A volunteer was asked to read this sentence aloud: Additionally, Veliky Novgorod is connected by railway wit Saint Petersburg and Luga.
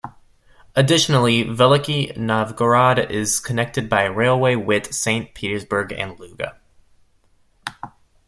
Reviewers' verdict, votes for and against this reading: rejected, 1, 2